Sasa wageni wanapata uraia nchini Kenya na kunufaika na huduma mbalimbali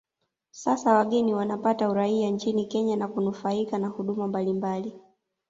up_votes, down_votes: 2, 1